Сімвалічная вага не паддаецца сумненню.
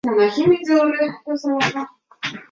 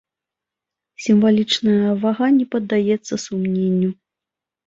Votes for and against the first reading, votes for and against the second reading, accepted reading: 0, 2, 2, 0, second